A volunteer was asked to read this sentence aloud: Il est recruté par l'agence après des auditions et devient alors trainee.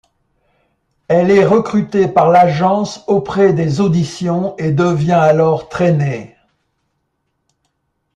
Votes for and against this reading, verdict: 0, 2, rejected